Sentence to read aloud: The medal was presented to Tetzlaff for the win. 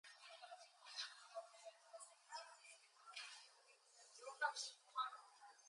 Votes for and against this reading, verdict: 0, 2, rejected